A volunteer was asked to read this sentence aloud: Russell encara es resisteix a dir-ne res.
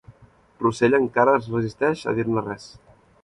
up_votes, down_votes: 4, 0